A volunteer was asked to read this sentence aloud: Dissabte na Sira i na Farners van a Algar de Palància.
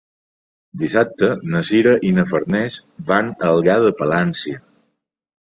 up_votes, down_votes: 2, 0